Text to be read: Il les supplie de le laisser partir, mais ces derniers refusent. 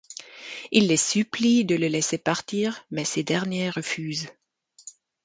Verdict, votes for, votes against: accepted, 2, 0